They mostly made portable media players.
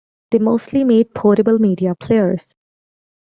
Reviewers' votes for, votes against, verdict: 2, 1, accepted